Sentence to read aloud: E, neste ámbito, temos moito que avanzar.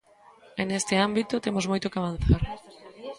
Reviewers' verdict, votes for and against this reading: rejected, 1, 2